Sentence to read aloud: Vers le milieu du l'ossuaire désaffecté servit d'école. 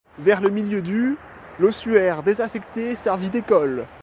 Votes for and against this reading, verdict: 2, 0, accepted